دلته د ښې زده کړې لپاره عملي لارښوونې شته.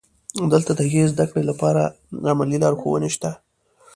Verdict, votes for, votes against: accepted, 2, 0